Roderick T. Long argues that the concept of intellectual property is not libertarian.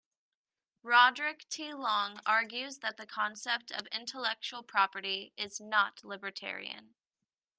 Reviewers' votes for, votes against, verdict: 3, 0, accepted